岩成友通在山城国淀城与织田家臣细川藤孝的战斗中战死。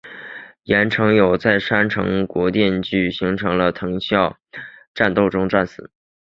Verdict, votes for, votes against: rejected, 2, 4